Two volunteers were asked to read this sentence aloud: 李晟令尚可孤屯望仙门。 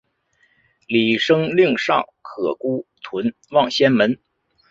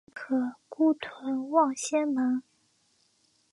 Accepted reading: first